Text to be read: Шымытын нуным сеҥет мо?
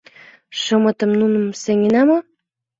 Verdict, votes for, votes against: rejected, 0, 2